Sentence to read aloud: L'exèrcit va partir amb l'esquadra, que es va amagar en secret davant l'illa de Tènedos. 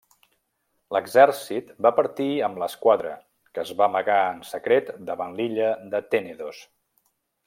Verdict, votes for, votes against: accepted, 2, 0